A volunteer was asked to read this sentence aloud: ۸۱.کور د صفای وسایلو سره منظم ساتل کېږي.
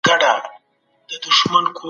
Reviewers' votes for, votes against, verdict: 0, 2, rejected